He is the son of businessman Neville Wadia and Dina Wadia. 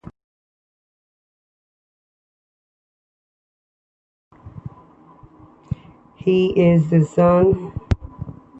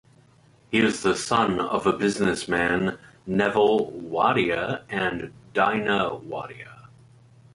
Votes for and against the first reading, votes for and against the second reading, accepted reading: 0, 3, 4, 2, second